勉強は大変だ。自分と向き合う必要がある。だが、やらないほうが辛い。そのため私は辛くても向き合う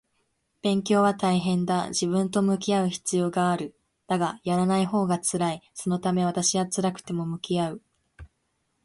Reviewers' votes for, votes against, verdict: 2, 0, accepted